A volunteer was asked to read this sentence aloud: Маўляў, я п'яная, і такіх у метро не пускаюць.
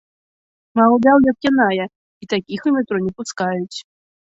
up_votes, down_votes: 1, 2